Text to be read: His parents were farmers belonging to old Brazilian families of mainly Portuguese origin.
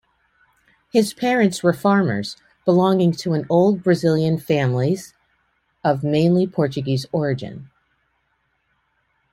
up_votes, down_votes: 0, 2